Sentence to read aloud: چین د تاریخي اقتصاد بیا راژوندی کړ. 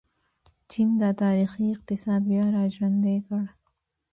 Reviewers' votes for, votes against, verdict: 2, 1, accepted